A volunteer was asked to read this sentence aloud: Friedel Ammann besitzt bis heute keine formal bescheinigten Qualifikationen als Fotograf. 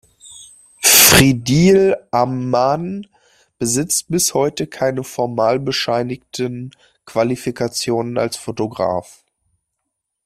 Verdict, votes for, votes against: accepted, 2, 1